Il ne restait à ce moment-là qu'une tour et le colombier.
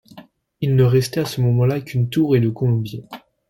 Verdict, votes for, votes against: accepted, 2, 0